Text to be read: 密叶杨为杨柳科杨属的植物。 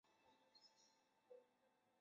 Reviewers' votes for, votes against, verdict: 0, 2, rejected